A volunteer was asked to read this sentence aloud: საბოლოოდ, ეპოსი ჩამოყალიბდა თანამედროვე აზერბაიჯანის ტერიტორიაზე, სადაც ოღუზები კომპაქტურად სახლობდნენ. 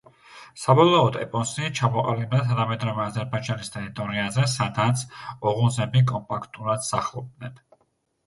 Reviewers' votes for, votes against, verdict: 1, 2, rejected